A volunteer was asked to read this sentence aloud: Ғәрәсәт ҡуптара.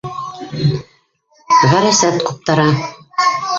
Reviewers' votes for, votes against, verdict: 0, 2, rejected